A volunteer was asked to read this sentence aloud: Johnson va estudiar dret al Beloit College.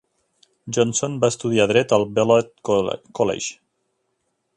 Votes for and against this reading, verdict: 0, 2, rejected